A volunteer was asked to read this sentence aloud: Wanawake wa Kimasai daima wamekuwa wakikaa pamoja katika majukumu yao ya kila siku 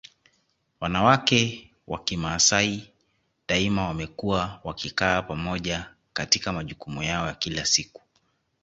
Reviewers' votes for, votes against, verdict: 2, 0, accepted